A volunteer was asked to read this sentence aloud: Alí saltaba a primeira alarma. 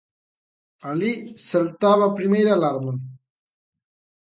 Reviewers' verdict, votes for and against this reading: accepted, 2, 0